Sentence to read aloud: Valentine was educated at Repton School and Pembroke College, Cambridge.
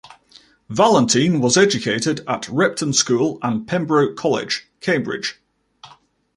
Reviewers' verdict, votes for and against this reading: accepted, 2, 0